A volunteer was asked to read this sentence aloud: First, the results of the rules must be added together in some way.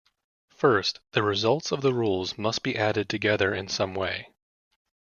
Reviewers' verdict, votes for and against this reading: accepted, 2, 0